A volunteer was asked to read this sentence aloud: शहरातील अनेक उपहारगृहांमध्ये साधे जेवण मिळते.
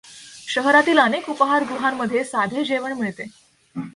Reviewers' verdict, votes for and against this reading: accepted, 2, 0